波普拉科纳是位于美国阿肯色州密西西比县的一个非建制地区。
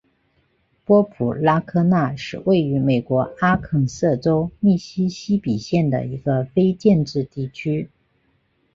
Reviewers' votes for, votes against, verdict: 4, 0, accepted